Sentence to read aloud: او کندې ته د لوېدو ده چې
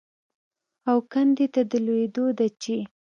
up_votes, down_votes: 2, 0